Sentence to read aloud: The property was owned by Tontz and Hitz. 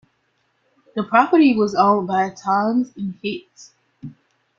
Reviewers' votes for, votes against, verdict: 0, 2, rejected